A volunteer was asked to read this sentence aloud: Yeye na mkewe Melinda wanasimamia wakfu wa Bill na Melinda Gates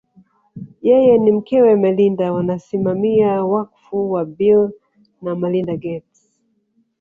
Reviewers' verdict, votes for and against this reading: accepted, 2, 0